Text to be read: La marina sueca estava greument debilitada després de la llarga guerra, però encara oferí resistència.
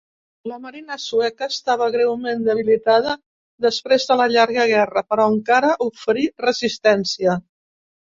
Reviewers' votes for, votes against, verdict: 2, 0, accepted